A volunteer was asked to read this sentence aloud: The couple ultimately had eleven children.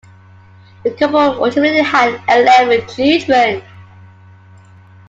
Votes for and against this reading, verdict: 2, 1, accepted